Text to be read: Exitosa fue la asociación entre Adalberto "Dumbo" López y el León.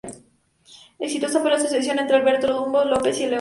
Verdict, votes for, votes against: rejected, 0, 2